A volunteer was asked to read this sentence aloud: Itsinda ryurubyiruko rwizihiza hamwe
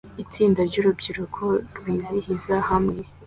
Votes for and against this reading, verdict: 2, 0, accepted